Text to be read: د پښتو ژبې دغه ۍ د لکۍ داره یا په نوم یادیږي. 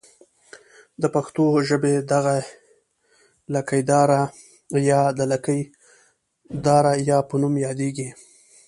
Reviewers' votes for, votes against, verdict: 2, 1, accepted